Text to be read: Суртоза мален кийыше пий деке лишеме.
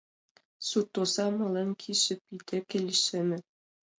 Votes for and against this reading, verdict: 2, 0, accepted